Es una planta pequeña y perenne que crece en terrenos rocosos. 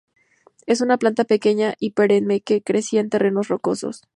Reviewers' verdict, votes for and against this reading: accepted, 4, 0